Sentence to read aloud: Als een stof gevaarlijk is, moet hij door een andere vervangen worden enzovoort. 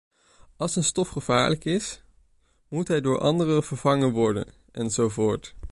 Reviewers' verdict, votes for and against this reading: rejected, 1, 2